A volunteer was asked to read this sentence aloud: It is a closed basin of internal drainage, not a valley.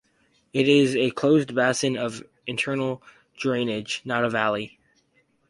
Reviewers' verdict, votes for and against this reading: rejected, 0, 2